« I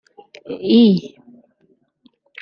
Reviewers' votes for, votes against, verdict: 0, 2, rejected